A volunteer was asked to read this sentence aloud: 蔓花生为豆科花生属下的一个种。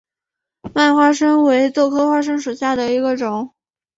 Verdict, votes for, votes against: accepted, 2, 0